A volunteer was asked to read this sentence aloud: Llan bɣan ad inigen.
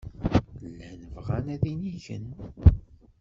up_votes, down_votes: 1, 2